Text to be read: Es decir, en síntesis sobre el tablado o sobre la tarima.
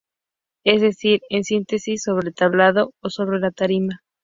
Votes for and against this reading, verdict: 4, 0, accepted